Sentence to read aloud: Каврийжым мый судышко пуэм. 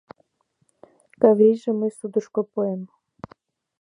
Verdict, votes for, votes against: accepted, 2, 1